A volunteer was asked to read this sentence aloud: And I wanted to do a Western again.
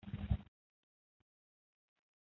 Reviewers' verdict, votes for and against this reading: rejected, 0, 2